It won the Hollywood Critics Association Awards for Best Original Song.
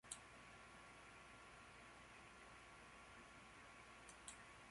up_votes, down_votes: 0, 3